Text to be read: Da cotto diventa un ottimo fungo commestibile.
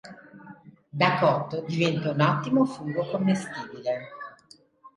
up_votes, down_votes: 2, 0